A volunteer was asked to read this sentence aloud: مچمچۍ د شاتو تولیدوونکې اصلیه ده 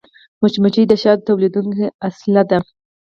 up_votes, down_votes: 4, 0